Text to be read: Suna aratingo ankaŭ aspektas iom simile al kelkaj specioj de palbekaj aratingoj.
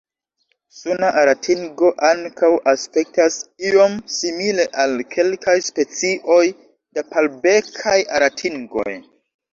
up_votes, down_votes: 0, 2